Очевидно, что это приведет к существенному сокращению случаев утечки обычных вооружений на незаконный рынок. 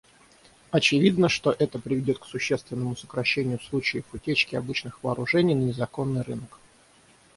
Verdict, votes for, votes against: accepted, 6, 0